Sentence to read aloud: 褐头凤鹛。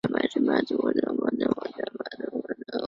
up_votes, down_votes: 0, 2